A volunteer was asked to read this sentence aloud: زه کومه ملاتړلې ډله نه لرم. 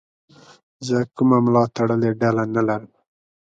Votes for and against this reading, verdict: 2, 0, accepted